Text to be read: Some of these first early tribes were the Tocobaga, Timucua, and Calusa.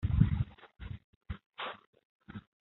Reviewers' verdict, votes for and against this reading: rejected, 0, 3